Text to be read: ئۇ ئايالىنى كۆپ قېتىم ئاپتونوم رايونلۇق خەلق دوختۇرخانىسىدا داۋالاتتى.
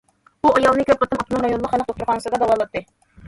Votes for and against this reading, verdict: 1, 2, rejected